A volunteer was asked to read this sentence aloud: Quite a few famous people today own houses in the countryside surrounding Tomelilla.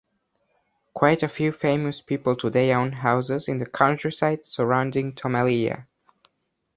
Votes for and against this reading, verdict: 2, 0, accepted